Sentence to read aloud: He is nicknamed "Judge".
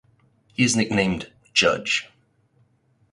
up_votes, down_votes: 0, 4